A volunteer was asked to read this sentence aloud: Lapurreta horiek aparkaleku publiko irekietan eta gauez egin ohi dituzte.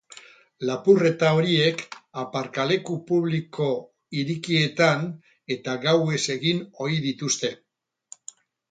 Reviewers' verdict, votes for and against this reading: rejected, 2, 6